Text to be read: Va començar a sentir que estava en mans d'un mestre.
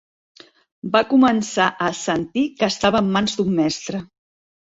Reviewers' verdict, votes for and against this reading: accepted, 3, 0